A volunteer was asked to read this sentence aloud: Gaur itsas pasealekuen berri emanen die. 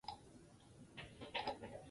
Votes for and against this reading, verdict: 0, 4, rejected